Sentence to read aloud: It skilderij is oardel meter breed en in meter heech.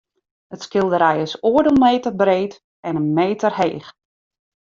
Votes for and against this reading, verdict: 2, 0, accepted